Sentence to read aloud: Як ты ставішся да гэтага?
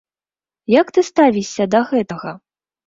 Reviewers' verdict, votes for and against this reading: accepted, 2, 0